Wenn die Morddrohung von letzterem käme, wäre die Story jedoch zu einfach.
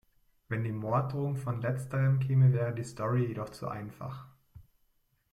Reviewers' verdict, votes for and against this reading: accepted, 2, 0